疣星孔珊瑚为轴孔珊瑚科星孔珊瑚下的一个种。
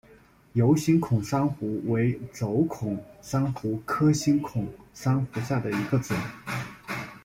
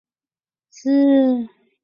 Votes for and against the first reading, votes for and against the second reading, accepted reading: 2, 0, 1, 4, first